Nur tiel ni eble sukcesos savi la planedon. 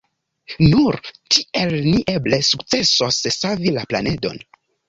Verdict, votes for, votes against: rejected, 1, 2